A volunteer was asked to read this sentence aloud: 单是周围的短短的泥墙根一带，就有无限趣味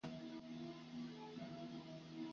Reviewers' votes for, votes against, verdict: 1, 2, rejected